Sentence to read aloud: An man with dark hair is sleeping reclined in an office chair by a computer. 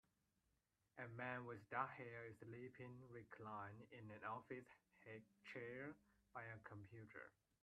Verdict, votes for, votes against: rejected, 0, 2